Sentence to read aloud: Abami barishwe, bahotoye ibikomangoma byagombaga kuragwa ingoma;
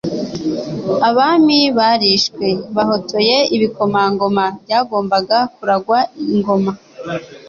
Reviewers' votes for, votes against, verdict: 2, 0, accepted